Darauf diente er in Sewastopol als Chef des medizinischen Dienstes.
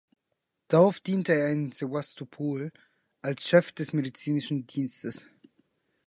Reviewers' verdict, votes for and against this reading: accepted, 4, 0